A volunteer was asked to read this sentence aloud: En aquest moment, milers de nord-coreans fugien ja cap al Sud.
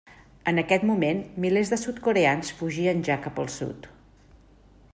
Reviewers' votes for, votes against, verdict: 0, 2, rejected